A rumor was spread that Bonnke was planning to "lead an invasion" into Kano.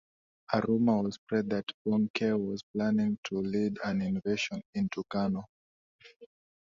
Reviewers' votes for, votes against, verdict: 2, 1, accepted